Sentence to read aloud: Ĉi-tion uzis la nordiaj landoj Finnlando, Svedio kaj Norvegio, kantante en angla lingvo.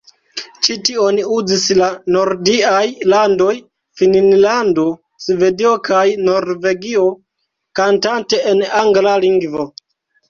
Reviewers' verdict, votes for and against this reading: accepted, 2, 1